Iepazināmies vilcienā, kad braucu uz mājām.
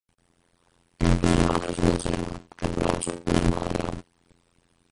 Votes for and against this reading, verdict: 0, 2, rejected